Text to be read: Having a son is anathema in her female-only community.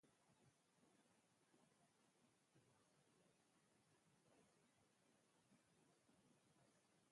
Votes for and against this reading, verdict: 0, 4, rejected